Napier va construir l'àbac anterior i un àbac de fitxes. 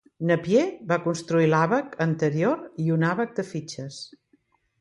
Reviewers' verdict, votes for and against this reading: accepted, 2, 0